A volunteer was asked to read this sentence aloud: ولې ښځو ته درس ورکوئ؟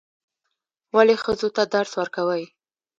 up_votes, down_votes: 2, 0